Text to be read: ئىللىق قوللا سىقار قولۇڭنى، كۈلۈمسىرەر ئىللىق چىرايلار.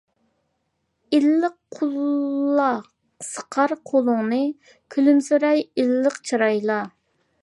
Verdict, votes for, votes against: rejected, 0, 2